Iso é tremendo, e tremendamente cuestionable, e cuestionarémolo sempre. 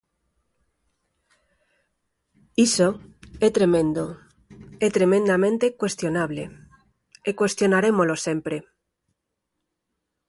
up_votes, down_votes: 4, 0